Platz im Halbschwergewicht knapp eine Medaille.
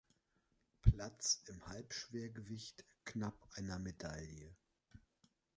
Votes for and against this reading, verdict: 1, 2, rejected